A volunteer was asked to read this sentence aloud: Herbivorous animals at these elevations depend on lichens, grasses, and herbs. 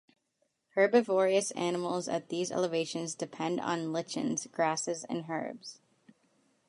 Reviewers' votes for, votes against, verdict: 2, 0, accepted